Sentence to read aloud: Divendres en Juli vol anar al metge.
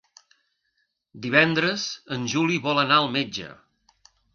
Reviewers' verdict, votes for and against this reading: accepted, 3, 0